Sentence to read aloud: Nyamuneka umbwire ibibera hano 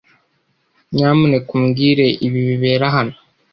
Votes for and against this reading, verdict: 1, 2, rejected